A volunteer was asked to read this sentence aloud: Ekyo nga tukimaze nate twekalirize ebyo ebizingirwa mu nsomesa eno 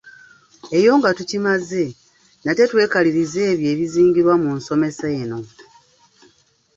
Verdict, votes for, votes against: rejected, 1, 2